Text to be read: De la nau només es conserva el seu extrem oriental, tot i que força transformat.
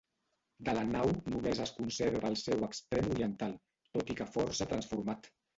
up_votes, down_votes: 1, 2